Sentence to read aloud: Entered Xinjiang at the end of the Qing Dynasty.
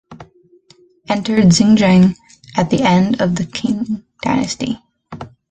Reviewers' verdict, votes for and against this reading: rejected, 0, 2